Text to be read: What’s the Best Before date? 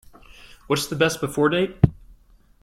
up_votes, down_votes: 2, 0